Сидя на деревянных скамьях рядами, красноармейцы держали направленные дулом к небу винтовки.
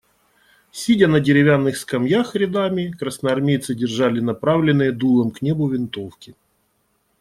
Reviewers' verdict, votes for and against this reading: accepted, 2, 0